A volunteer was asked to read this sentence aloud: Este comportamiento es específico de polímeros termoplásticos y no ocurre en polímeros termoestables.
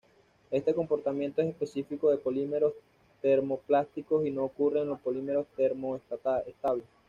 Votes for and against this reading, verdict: 1, 2, rejected